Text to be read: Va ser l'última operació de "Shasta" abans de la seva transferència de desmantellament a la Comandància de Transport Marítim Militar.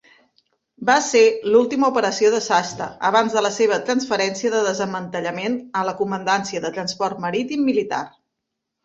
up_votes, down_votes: 1, 2